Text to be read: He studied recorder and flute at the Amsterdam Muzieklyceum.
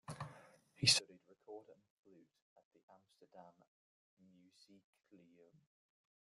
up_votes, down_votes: 0, 2